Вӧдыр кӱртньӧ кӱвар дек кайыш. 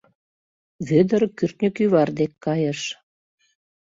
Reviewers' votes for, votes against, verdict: 2, 0, accepted